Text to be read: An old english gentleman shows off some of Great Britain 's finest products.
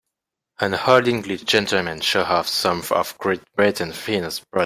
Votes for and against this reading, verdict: 0, 2, rejected